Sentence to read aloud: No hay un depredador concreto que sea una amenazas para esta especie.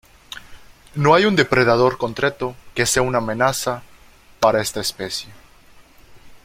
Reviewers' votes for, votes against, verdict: 0, 2, rejected